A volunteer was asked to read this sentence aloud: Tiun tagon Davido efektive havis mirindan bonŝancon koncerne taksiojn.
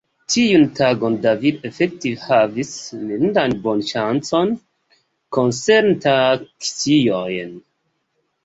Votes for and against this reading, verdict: 2, 1, accepted